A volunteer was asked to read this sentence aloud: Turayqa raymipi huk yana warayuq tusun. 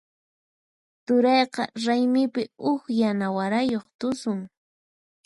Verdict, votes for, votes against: accepted, 4, 0